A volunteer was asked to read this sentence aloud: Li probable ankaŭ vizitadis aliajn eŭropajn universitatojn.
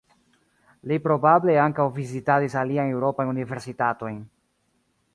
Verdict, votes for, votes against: accepted, 2, 0